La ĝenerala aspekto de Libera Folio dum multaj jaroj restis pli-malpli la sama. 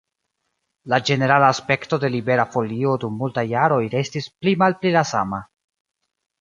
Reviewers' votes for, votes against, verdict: 3, 0, accepted